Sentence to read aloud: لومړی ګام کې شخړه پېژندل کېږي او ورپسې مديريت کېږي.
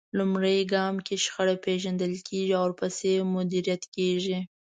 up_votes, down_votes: 4, 0